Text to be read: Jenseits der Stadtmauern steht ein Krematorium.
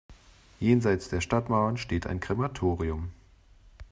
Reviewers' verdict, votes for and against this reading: accepted, 2, 0